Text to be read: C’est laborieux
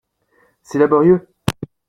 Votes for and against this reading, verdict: 3, 0, accepted